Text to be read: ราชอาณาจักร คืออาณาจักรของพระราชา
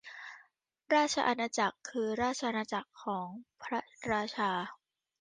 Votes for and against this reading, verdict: 1, 2, rejected